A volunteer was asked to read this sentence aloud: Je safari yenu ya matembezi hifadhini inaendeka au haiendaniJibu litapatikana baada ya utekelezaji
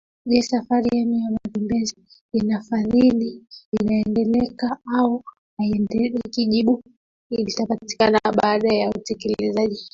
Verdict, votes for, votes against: rejected, 0, 2